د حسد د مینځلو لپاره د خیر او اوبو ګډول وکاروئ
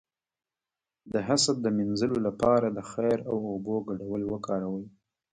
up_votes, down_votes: 2, 1